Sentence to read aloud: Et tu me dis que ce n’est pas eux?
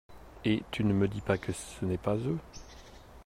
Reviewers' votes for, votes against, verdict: 0, 2, rejected